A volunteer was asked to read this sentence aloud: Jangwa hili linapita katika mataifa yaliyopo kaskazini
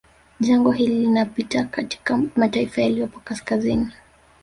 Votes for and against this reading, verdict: 1, 2, rejected